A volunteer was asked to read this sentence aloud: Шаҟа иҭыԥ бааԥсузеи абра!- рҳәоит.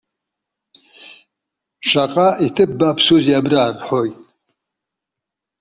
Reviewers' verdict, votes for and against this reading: accepted, 2, 0